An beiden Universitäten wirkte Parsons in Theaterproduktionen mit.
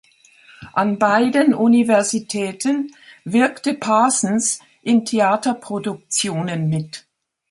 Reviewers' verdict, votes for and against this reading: accepted, 2, 0